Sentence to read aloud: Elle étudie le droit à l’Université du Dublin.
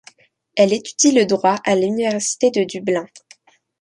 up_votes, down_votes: 1, 2